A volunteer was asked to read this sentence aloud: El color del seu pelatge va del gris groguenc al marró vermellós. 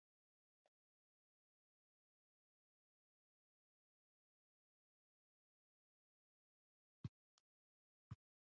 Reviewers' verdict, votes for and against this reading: rejected, 0, 2